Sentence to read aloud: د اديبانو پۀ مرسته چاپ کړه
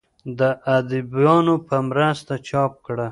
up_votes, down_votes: 1, 2